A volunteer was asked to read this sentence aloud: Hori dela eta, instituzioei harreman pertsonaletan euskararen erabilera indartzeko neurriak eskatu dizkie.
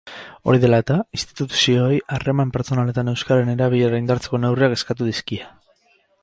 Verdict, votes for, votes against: accepted, 2, 0